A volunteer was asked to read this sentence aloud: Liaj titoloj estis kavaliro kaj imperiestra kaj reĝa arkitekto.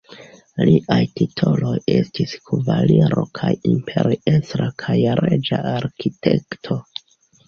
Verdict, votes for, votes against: rejected, 0, 2